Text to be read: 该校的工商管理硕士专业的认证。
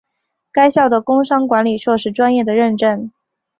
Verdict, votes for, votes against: accepted, 2, 0